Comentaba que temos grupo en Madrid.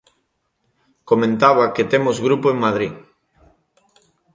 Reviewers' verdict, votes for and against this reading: accepted, 3, 0